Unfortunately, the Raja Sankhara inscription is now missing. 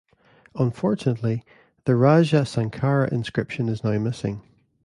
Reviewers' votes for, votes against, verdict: 1, 2, rejected